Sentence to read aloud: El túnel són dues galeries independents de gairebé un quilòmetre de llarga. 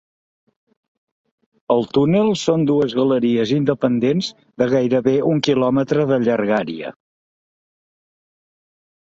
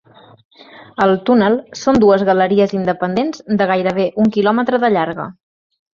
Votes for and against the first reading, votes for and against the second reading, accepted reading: 2, 3, 2, 0, second